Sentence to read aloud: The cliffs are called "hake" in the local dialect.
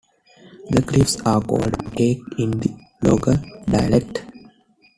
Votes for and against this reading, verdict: 0, 2, rejected